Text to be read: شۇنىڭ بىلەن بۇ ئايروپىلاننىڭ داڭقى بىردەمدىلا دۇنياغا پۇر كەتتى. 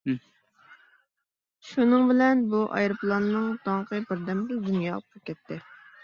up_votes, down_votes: 2, 1